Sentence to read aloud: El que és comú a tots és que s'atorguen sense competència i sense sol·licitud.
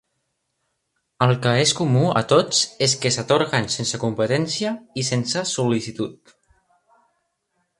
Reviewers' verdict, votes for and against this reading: accepted, 2, 0